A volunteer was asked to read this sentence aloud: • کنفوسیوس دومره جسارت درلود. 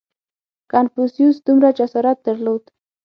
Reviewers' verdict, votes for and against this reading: accepted, 6, 0